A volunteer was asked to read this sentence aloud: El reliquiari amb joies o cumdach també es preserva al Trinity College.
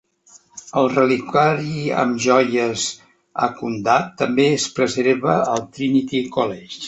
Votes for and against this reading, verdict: 0, 3, rejected